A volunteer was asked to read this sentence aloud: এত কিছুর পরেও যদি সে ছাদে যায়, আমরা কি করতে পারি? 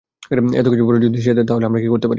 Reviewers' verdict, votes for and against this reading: rejected, 0, 2